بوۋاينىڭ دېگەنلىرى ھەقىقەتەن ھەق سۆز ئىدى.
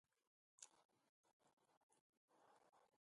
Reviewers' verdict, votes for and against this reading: rejected, 0, 2